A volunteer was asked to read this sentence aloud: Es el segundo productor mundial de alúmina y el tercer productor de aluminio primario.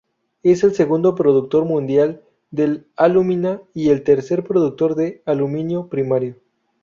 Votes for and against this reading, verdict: 2, 0, accepted